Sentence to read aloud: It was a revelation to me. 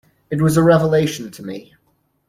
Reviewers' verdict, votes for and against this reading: accepted, 2, 0